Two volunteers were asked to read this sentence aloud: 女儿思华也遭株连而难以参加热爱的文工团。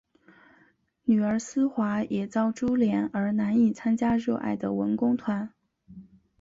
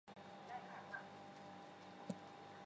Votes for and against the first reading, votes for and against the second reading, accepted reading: 2, 0, 0, 3, first